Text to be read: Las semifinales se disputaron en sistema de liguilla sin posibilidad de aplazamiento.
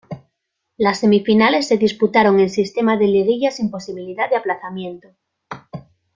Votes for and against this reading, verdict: 2, 0, accepted